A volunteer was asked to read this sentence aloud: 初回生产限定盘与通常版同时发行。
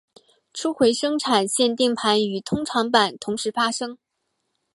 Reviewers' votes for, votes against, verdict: 0, 4, rejected